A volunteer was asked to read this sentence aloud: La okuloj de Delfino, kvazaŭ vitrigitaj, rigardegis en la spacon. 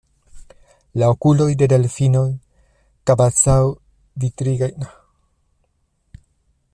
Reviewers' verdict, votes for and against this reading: rejected, 0, 2